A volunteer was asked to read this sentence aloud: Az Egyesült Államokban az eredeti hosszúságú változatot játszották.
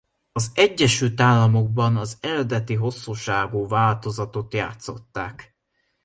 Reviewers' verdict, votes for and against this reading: accepted, 2, 1